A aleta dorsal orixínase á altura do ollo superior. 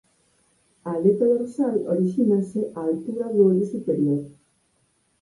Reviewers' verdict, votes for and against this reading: rejected, 0, 4